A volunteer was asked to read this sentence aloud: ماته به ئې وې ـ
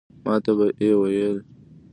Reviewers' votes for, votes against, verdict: 2, 1, accepted